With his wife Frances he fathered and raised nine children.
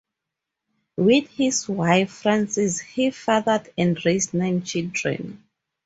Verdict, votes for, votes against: accepted, 4, 0